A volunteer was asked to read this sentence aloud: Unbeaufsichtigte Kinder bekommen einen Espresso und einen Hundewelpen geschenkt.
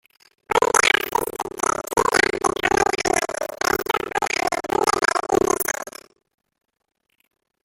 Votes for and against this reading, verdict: 0, 2, rejected